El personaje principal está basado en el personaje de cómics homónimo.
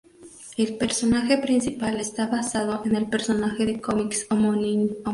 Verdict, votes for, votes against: rejected, 2, 2